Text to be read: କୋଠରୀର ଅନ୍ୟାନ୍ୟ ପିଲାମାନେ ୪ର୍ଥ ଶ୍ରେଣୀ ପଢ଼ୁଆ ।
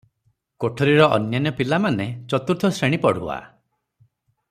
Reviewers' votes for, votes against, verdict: 0, 2, rejected